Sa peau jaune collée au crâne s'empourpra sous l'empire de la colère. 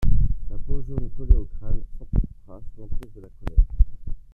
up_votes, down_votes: 1, 2